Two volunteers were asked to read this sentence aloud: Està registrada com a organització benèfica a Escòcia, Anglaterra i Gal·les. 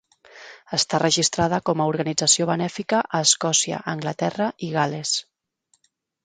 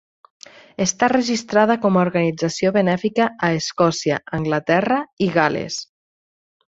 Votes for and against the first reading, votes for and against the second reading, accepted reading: 0, 2, 8, 0, second